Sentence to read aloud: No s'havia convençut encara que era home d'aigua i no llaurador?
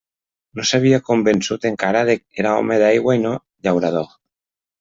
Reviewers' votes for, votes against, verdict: 0, 2, rejected